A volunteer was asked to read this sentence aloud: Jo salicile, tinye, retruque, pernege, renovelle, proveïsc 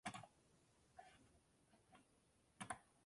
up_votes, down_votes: 0, 2